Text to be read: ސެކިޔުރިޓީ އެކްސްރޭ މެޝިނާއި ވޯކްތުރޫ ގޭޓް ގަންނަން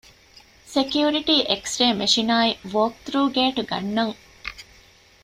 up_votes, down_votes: 2, 0